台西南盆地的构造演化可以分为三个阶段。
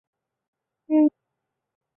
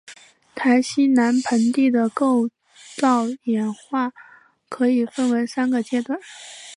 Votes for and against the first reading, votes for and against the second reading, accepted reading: 0, 2, 7, 0, second